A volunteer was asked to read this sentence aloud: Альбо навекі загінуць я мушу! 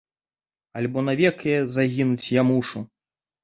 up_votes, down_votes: 0, 2